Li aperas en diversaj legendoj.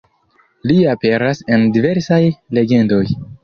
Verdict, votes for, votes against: rejected, 1, 2